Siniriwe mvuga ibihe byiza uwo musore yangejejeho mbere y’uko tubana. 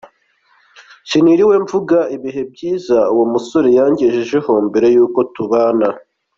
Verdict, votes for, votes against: accepted, 2, 1